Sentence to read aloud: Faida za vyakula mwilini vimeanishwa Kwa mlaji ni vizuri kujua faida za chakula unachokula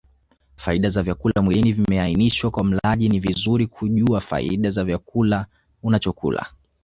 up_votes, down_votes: 2, 1